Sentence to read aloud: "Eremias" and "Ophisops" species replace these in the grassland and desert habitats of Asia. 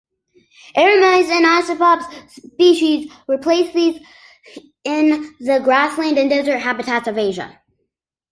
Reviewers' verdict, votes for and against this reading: accepted, 2, 0